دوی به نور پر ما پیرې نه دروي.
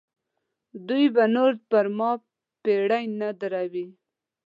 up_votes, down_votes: 0, 2